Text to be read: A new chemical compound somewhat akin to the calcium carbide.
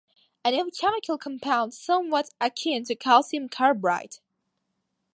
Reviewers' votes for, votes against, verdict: 1, 2, rejected